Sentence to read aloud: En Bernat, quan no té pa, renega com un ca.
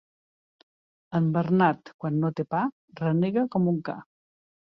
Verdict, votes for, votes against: accepted, 2, 0